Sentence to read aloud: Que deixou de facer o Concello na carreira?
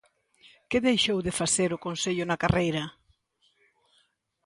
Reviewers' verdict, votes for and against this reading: accepted, 2, 0